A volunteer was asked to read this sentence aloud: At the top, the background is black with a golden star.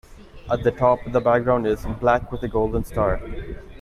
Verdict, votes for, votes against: accepted, 2, 1